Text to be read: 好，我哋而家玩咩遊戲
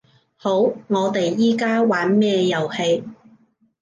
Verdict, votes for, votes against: rejected, 1, 2